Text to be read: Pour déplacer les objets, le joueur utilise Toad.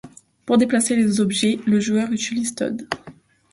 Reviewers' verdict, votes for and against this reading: accepted, 2, 0